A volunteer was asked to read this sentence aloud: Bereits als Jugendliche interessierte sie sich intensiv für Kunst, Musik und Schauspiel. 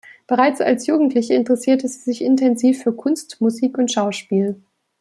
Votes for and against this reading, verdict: 2, 0, accepted